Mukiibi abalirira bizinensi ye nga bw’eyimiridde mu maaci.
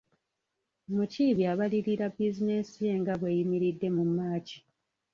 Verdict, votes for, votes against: rejected, 0, 2